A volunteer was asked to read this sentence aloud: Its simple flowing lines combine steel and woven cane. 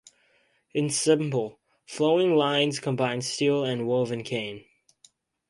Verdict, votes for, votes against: rejected, 2, 2